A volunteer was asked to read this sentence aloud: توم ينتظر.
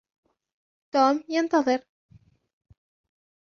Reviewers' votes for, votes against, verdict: 1, 2, rejected